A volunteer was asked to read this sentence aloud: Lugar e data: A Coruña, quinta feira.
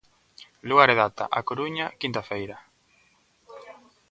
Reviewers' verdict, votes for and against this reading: accepted, 2, 0